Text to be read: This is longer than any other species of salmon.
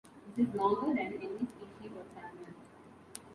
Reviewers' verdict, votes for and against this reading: rejected, 0, 2